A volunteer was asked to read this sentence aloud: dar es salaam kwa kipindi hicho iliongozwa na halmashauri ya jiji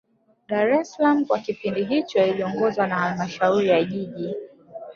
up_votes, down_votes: 2, 0